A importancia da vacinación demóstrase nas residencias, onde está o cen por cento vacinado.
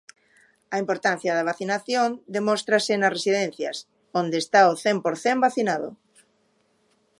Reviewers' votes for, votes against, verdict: 1, 2, rejected